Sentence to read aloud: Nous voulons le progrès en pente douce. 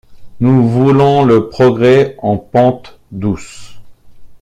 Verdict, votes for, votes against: accepted, 2, 0